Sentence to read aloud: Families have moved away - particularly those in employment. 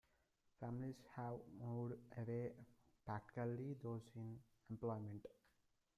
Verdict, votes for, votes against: rejected, 1, 3